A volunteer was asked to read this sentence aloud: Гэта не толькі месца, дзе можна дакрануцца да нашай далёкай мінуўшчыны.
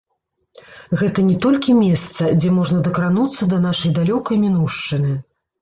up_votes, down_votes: 1, 2